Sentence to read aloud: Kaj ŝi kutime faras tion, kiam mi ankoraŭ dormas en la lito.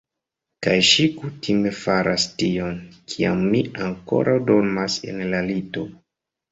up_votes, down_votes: 2, 0